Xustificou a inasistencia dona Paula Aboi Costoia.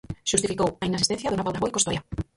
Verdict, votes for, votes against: rejected, 0, 4